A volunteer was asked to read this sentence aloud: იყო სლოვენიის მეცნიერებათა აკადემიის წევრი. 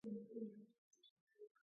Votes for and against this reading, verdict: 0, 2, rejected